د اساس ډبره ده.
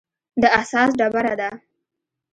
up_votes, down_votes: 2, 1